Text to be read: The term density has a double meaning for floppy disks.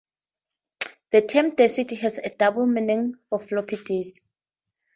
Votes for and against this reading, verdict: 4, 2, accepted